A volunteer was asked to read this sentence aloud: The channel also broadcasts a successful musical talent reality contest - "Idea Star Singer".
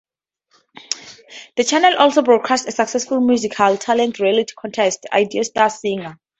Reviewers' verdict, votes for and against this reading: rejected, 2, 2